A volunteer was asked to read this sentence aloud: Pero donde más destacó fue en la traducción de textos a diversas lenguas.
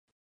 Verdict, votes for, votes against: rejected, 0, 2